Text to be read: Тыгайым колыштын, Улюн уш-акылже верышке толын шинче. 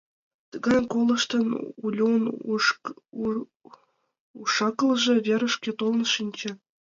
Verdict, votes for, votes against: rejected, 1, 2